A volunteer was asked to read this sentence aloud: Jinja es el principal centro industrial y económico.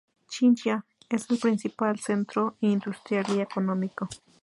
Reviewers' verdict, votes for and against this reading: rejected, 2, 2